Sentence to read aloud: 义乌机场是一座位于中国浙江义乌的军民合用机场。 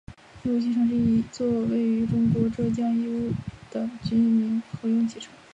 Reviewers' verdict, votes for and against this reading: rejected, 0, 2